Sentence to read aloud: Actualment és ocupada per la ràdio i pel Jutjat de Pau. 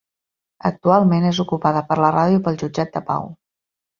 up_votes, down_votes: 2, 0